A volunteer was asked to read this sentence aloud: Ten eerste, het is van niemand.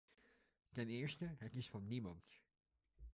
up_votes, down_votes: 0, 2